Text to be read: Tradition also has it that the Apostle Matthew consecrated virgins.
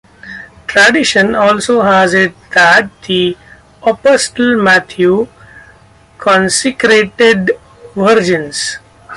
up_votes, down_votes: 2, 0